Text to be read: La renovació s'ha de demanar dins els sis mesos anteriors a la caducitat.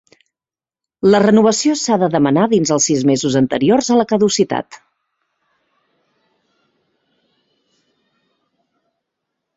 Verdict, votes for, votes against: accepted, 2, 0